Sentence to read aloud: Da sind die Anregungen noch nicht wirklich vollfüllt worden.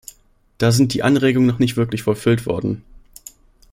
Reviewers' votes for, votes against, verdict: 2, 0, accepted